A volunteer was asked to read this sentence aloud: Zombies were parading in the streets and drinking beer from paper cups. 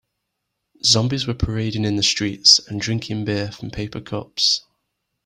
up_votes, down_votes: 3, 0